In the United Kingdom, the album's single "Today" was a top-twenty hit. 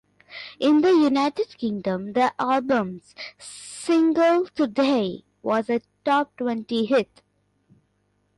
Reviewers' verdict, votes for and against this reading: accepted, 2, 0